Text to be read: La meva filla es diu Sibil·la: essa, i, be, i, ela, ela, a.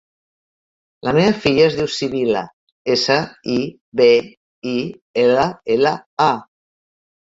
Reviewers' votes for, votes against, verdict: 3, 0, accepted